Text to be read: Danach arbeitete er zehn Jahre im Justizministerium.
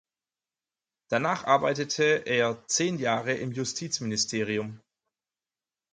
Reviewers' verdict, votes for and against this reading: accepted, 4, 0